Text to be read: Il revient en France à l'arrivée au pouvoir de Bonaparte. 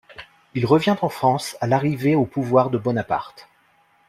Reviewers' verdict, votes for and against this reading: accepted, 2, 0